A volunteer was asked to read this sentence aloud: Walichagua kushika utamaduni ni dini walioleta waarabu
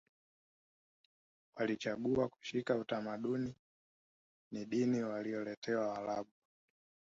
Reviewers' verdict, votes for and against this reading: rejected, 0, 3